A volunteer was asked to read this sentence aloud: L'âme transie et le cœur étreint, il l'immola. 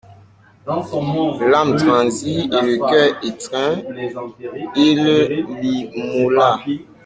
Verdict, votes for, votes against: rejected, 0, 2